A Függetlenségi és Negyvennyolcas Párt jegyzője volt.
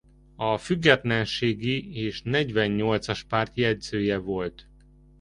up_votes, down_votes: 2, 0